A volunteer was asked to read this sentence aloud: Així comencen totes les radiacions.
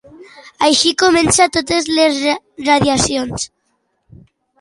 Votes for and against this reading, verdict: 2, 0, accepted